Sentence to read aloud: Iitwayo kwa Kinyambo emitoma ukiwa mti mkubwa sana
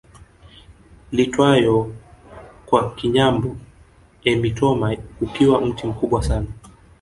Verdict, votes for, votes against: accepted, 2, 0